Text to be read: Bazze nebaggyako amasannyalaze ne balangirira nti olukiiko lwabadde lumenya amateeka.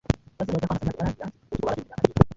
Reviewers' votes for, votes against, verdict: 0, 2, rejected